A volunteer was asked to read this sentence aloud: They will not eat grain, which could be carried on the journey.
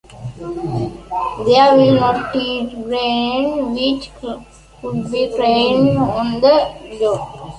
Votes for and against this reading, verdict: 0, 2, rejected